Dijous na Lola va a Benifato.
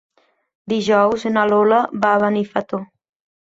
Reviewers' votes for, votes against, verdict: 1, 2, rejected